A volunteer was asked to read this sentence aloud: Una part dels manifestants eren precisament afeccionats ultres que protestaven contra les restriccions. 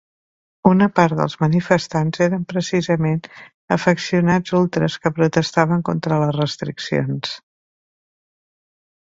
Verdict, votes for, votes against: accepted, 3, 0